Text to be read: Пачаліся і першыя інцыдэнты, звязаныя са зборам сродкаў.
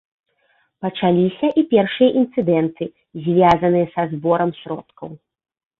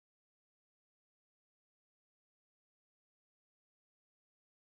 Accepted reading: first